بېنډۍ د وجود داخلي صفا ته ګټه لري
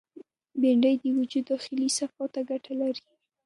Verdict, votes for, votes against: accepted, 2, 0